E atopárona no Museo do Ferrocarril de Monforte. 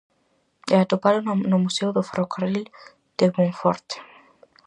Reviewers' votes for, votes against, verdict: 4, 0, accepted